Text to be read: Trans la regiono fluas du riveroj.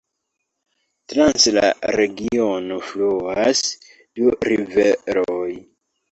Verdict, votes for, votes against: accepted, 2, 0